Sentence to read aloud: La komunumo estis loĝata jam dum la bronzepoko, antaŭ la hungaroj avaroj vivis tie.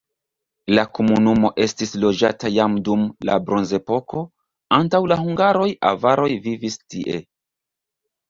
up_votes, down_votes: 1, 2